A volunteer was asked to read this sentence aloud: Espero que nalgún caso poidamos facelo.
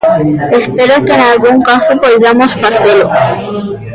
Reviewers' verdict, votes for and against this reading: accepted, 2, 1